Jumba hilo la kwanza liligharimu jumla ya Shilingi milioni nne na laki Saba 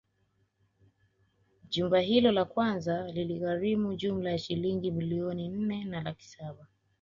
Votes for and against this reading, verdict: 2, 0, accepted